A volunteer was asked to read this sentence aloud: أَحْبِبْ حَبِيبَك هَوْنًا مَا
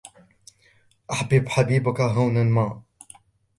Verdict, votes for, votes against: accepted, 2, 0